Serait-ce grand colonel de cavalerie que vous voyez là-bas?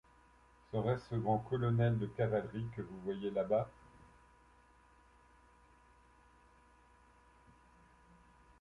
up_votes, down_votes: 1, 2